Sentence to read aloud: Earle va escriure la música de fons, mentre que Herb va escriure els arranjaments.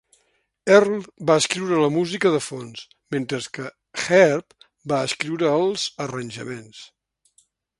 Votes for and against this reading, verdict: 2, 0, accepted